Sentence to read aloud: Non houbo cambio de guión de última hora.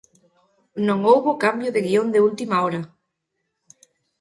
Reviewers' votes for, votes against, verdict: 2, 0, accepted